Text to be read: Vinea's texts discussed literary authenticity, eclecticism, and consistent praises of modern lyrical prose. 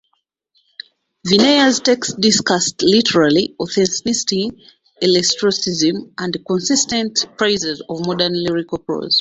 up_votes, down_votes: 0, 2